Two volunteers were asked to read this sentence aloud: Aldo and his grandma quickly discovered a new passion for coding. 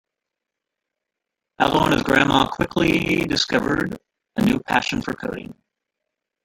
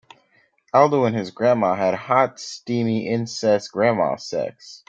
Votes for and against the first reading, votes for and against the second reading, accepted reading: 2, 1, 0, 3, first